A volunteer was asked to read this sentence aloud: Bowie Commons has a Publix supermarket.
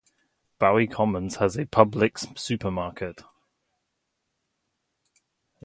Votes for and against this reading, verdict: 4, 0, accepted